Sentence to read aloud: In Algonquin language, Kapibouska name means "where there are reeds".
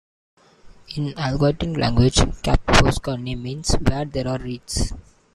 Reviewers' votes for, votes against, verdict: 0, 2, rejected